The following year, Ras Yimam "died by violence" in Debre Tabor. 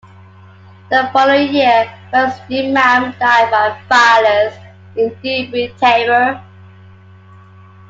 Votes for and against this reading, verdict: 1, 2, rejected